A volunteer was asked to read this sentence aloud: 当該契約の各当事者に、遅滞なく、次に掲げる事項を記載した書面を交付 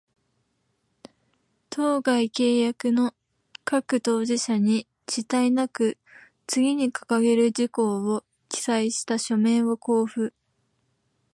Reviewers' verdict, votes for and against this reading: accepted, 2, 0